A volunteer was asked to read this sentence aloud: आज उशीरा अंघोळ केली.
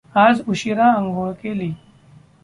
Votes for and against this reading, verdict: 2, 0, accepted